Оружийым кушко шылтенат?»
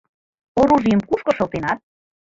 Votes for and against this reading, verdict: 3, 2, accepted